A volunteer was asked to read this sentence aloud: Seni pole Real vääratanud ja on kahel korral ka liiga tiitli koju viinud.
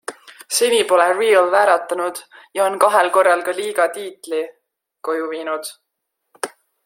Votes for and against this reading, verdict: 0, 2, rejected